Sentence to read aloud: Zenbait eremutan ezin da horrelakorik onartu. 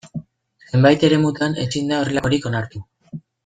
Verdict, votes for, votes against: accepted, 2, 0